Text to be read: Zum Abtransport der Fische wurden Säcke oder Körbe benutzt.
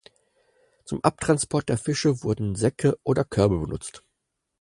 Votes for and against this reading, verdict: 4, 0, accepted